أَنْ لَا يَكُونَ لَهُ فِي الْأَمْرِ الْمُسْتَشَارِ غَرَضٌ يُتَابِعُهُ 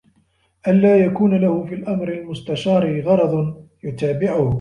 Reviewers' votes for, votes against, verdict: 2, 0, accepted